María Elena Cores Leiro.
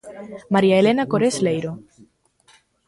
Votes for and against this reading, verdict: 2, 0, accepted